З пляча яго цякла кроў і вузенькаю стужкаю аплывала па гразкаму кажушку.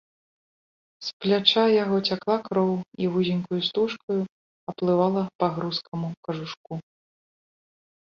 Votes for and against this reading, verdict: 1, 2, rejected